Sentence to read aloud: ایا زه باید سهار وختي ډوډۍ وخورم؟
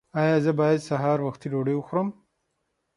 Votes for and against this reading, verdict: 6, 0, accepted